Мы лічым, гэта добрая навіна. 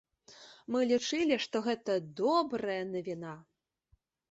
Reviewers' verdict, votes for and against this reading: rejected, 0, 2